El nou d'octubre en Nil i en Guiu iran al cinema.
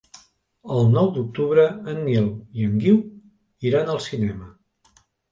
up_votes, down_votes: 3, 0